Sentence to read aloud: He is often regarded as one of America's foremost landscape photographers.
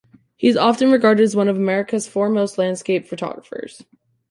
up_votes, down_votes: 2, 0